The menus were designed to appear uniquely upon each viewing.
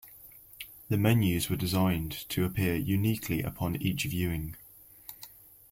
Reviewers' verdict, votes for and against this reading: accepted, 2, 0